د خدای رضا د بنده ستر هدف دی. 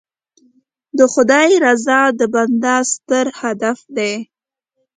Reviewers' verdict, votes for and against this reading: accepted, 2, 0